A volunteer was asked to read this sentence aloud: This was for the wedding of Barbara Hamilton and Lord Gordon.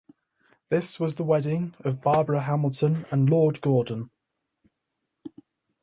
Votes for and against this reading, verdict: 0, 2, rejected